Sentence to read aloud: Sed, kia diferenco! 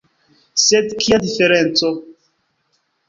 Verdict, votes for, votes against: rejected, 0, 2